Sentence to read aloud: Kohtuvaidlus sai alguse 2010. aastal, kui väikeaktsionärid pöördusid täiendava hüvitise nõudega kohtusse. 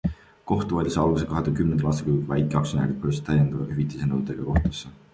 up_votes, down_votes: 0, 2